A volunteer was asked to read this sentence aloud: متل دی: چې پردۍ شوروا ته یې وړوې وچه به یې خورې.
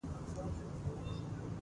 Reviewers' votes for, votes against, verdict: 1, 2, rejected